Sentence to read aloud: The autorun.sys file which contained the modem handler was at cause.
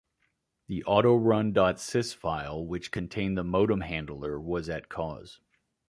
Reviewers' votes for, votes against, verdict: 2, 0, accepted